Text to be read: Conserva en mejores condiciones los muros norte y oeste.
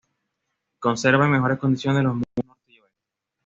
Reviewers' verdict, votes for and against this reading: rejected, 1, 2